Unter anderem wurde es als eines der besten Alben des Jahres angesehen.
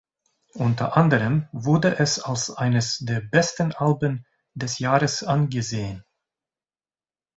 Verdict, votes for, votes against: rejected, 1, 2